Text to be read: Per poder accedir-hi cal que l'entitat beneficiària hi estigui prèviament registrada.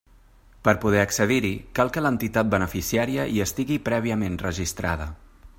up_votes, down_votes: 3, 0